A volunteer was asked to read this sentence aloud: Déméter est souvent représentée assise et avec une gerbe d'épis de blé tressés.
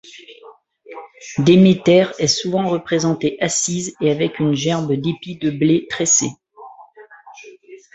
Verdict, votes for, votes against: rejected, 0, 2